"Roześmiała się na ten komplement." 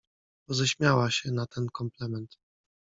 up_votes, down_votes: 1, 2